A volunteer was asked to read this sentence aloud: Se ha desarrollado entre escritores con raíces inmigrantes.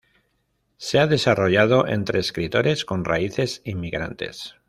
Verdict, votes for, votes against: accepted, 2, 0